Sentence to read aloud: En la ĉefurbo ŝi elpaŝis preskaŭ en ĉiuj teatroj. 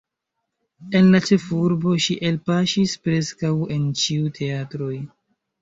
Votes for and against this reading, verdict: 2, 0, accepted